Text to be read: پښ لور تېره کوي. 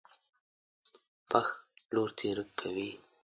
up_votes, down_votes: 2, 0